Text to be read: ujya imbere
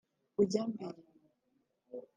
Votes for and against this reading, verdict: 1, 2, rejected